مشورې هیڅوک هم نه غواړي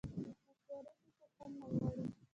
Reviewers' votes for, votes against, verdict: 2, 1, accepted